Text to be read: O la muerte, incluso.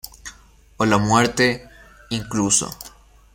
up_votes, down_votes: 1, 2